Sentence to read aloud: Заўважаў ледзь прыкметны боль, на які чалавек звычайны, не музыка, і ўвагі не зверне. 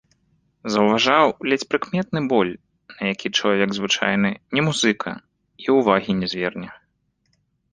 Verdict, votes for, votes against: accepted, 2, 0